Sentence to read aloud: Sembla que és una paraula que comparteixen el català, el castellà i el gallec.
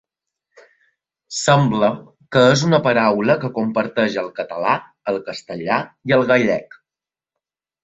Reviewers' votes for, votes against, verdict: 3, 0, accepted